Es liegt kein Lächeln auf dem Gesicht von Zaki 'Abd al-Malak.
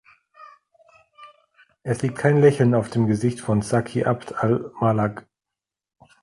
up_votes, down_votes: 3, 1